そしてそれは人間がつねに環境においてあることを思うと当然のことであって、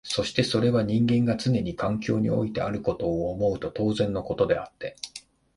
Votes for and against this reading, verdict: 3, 1, accepted